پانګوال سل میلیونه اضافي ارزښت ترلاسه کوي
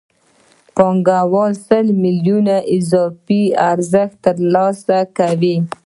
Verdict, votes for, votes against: rejected, 1, 2